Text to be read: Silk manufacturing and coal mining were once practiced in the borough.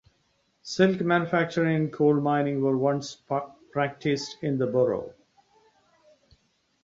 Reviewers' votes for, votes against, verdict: 0, 2, rejected